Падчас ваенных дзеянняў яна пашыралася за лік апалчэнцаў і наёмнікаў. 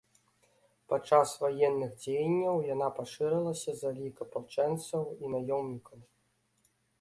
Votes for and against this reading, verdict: 1, 2, rejected